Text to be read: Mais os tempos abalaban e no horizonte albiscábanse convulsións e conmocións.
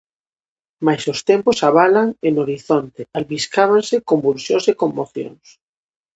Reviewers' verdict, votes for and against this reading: rejected, 0, 2